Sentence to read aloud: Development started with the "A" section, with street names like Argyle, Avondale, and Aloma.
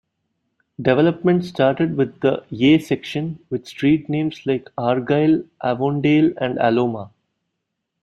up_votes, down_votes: 0, 2